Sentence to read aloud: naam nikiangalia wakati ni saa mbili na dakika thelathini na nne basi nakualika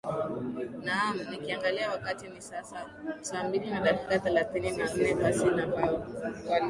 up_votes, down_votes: 2, 0